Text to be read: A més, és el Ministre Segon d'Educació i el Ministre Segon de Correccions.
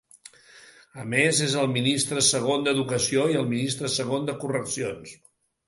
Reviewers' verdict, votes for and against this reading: accepted, 2, 0